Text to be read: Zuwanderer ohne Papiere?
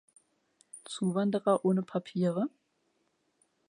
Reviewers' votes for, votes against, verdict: 3, 1, accepted